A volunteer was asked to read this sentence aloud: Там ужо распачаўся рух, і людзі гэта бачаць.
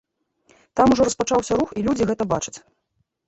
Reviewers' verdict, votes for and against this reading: rejected, 1, 2